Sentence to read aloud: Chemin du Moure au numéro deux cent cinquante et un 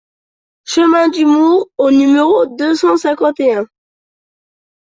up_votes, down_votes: 2, 0